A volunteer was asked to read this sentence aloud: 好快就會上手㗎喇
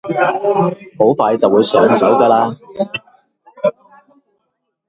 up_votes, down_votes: 0, 2